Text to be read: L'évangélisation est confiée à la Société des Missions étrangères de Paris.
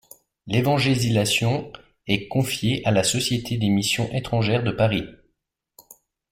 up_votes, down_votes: 0, 3